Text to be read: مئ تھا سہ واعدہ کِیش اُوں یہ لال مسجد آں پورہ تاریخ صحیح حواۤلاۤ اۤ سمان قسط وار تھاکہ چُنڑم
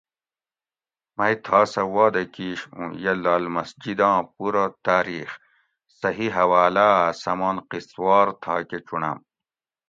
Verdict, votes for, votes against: accepted, 2, 0